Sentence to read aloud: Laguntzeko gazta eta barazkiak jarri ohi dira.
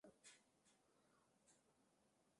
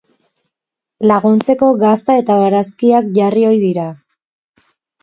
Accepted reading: second